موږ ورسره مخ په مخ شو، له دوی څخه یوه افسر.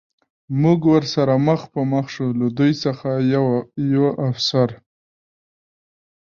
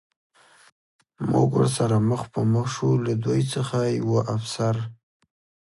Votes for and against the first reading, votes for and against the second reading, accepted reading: 2, 0, 0, 2, first